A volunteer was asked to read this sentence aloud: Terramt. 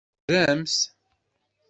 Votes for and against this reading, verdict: 1, 2, rejected